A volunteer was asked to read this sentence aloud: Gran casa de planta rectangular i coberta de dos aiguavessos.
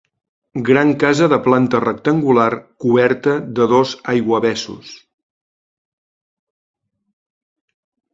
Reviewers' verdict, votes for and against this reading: rejected, 0, 2